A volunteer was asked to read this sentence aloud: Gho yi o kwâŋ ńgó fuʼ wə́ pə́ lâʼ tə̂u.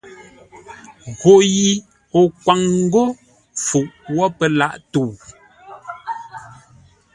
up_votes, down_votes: 2, 0